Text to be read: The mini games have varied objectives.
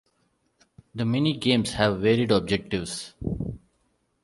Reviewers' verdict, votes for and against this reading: accepted, 2, 0